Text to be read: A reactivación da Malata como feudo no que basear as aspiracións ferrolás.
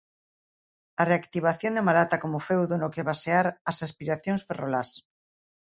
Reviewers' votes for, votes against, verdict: 2, 0, accepted